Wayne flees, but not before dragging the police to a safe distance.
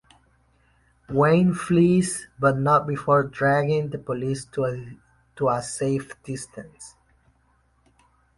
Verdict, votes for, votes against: rejected, 0, 2